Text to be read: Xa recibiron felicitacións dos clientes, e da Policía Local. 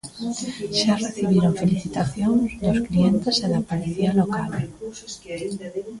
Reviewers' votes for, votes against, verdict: 0, 2, rejected